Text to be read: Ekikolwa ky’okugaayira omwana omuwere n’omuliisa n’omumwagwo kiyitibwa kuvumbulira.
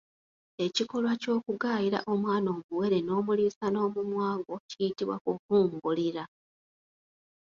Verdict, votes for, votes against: rejected, 0, 2